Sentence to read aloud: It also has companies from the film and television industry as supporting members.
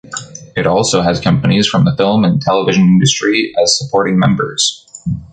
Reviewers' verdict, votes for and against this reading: rejected, 1, 2